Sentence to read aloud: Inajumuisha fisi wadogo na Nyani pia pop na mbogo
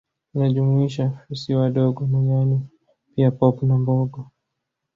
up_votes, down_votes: 1, 2